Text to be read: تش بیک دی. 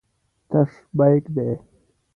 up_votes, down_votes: 2, 0